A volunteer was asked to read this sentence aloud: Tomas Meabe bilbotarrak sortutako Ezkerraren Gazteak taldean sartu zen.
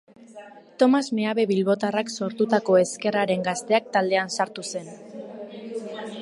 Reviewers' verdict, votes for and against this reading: accepted, 3, 0